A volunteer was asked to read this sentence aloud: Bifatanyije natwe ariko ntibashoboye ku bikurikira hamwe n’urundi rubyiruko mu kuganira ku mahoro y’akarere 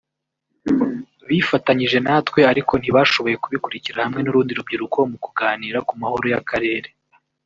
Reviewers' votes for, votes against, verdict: 0, 2, rejected